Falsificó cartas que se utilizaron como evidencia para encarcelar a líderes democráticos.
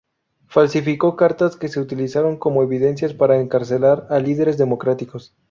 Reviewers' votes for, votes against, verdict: 0, 2, rejected